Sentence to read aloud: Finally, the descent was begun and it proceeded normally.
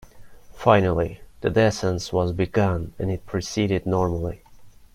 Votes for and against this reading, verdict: 1, 2, rejected